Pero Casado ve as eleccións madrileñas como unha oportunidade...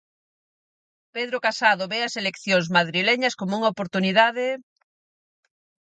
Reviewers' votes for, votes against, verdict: 2, 4, rejected